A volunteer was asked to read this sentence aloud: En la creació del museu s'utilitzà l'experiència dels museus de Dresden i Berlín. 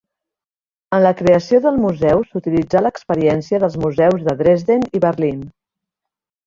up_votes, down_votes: 3, 0